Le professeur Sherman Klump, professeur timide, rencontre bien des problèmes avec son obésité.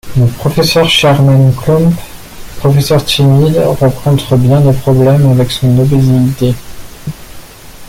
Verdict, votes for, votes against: accepted, 2, 0